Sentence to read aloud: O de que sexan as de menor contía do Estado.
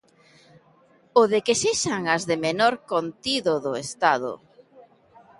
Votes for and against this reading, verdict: 0, 2, rejected